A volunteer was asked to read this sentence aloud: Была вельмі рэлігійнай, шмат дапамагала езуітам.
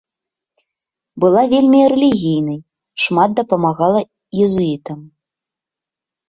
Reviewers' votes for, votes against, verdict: 1, 2, rejected